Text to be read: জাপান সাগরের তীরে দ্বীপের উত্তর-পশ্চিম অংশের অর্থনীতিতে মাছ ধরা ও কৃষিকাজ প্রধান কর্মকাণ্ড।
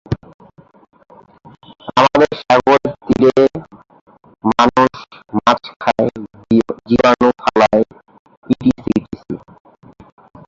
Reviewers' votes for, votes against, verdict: 0, 2, rejected